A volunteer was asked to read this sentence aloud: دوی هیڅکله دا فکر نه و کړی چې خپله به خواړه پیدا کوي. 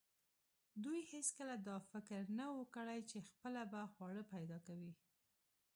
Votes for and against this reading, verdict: 2, 0, accepted